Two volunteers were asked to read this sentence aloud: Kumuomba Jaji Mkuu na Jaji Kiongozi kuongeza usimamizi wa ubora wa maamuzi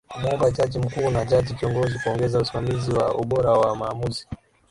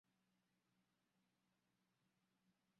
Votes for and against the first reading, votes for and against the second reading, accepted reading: 4, 0, 0, 2, first